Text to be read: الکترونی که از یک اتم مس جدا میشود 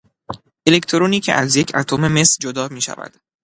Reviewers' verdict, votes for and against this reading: accepted, 2, 0